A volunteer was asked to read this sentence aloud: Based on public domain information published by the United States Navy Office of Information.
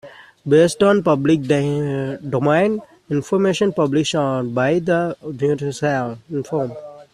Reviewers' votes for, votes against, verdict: 0, 2, rejected